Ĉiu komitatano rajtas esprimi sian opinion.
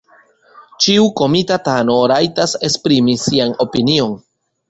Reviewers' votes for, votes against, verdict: 0, 2, rejected